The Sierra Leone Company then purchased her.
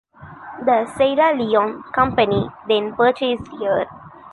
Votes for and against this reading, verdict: 2, 0, accepted